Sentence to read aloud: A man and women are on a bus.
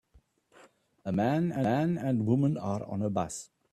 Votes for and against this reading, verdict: 0, 2, rejected